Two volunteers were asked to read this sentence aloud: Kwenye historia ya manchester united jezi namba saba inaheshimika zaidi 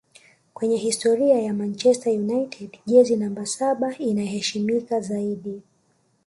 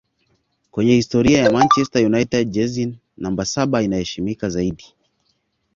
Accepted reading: second